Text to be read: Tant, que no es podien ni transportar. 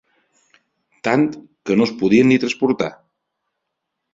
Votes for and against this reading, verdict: 4, 0, accepted